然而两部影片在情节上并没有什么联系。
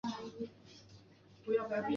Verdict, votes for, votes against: rejected, 1, 3